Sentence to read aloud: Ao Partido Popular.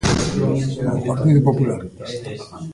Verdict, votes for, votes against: rejected, 0, 3